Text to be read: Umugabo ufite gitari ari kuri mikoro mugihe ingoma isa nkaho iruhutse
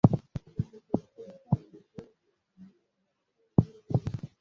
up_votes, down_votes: 0, 2